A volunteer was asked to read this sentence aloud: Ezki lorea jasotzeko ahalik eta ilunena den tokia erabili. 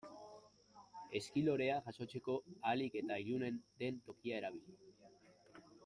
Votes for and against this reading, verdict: 0, 2, rejected